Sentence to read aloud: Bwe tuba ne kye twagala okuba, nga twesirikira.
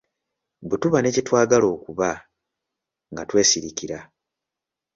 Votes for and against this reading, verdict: 2, 0, accepted